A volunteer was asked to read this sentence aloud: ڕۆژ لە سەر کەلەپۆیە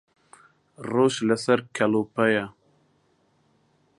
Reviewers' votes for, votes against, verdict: 0, 2, rejected